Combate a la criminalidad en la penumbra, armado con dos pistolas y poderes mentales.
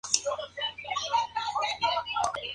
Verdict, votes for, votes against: accepted, 2, 0